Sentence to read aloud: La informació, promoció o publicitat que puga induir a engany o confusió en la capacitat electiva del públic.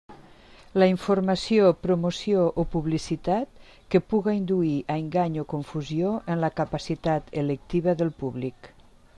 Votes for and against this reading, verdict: 3, 0, accepted